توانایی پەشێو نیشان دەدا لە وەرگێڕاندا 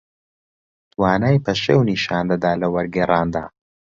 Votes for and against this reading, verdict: 0, 2, rejected